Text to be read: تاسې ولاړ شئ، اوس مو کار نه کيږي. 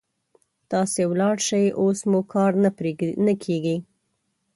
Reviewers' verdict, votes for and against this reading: rejected, 1, 2